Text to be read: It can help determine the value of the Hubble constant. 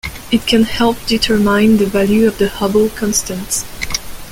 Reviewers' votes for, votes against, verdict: 2, 1, accepted